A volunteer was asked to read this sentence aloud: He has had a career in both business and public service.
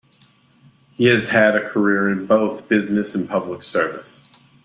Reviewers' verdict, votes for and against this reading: accepted, 2, 0